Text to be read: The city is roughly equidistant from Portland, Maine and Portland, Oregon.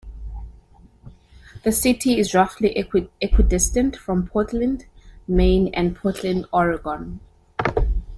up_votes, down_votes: 0, 2